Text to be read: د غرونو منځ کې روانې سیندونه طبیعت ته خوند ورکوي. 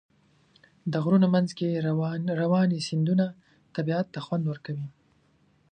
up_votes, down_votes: 3, 1